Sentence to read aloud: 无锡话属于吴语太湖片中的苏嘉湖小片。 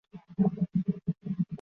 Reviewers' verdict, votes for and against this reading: rejected, 0, 3